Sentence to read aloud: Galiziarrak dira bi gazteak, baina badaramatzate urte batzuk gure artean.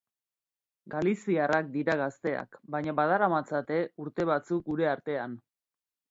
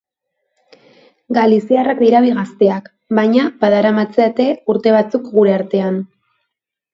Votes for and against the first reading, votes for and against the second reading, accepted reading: 1, 3, 6, 0, second